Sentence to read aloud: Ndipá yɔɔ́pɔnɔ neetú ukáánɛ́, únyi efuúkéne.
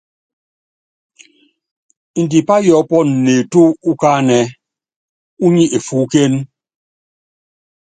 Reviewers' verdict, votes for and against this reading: accepted, 2, 0